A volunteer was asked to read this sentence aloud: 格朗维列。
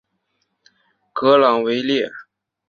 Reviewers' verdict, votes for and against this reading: accepted, 2, 0